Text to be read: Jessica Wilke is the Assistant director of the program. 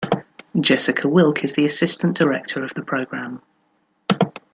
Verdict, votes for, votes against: accepted, 2, 0